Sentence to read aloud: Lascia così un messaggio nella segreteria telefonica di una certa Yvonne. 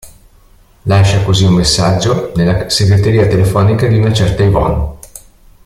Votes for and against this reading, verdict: 1, 2, rejected